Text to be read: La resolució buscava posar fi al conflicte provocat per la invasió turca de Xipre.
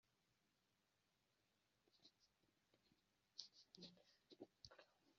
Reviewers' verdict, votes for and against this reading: rejected, 0, 2